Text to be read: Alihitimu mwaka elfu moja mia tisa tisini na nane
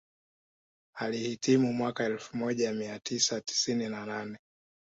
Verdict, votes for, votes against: accepted, 2, 0